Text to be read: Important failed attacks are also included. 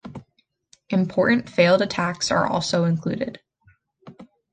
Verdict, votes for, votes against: accepted, 2, 1